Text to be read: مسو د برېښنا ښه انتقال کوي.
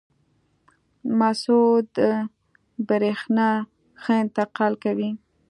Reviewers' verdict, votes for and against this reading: rejected, 1, 2